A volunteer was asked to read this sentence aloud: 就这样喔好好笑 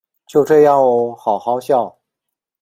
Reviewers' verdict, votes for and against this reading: rejected, 1, 2